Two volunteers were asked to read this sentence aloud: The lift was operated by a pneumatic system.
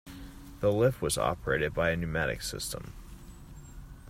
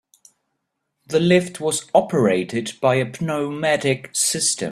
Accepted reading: first